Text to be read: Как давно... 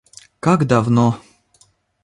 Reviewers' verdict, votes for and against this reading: accepted, 2, 0